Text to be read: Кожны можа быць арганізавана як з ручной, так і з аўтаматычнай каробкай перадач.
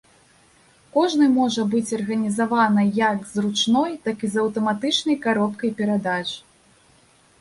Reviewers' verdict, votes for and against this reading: rejected, 1, 2